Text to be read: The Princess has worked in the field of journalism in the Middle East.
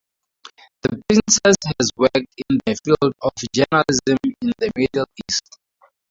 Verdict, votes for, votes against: accepted, 2, 0